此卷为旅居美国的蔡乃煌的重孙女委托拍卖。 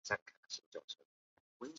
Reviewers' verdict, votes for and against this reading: rejected, 0, 2